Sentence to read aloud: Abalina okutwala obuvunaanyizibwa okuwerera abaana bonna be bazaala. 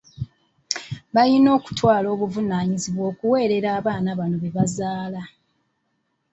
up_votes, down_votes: 0, 2